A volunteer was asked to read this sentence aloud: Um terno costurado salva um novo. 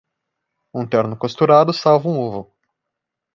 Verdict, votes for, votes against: rejected, 0, 2